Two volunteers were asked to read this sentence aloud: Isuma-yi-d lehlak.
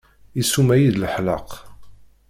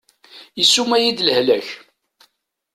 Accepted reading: second